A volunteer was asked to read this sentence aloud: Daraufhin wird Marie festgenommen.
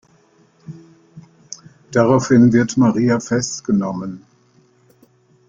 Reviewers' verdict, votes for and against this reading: rejected, 0, 2